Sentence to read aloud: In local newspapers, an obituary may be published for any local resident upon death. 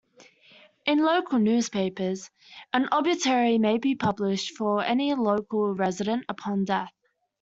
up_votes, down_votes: 2, 1